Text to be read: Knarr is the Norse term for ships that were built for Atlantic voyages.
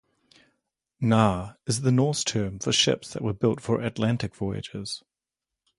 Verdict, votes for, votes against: rejected, 2, 2